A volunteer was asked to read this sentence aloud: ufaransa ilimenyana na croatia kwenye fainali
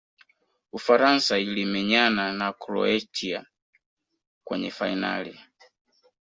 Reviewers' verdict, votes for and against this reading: accepted, 2, 0